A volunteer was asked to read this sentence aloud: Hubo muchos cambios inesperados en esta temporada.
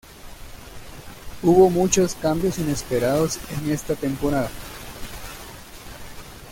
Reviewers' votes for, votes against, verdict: 2, 1, accepted